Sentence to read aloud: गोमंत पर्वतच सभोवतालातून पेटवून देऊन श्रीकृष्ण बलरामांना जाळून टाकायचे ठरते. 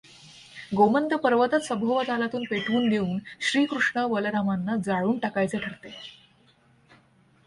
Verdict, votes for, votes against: accepted, 2, 0